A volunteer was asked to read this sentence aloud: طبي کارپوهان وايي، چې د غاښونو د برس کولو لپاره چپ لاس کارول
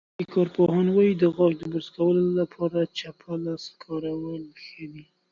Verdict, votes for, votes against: rejected, 1, 2